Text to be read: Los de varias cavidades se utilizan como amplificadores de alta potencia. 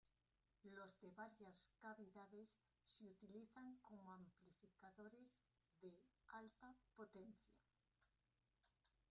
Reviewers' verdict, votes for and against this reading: rejected, 0, 2